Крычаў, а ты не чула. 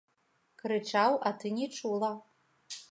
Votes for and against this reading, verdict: 2, 0, accepted